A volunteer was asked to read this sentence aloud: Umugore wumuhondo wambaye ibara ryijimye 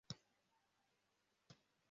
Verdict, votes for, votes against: rejected, 0, 2